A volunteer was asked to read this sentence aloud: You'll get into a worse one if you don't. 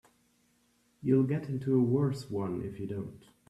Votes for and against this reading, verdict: 2, 1, accepted